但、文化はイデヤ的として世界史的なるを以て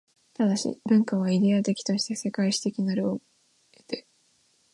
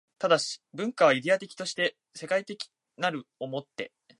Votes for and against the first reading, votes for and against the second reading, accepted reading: 1, 2, 5, 2, second